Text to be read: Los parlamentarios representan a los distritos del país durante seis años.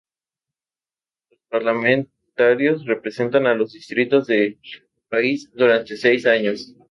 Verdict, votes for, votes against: rejected, 0, 4